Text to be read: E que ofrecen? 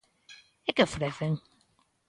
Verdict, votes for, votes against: accepted, 3, 0